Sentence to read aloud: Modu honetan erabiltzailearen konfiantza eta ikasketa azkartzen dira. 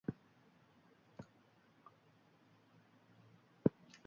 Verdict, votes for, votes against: rejected, 0, 2